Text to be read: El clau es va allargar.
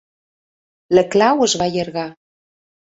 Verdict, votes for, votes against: rejected, 0, 2